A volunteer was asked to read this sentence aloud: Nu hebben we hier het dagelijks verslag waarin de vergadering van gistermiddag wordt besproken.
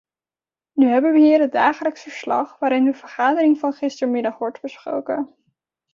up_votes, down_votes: 1, 2